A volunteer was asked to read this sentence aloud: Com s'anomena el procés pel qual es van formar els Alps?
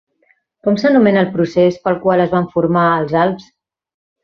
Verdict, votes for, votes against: accepted, 3, 0